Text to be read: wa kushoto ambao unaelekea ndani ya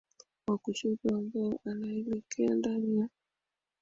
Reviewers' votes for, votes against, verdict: 1, 2, rejected